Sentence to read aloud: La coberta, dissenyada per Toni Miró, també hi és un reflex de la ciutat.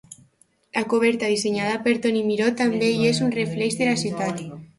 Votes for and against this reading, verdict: 1, 2, rejected